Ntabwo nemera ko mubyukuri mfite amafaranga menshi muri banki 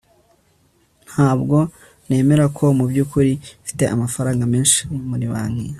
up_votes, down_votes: 2, 0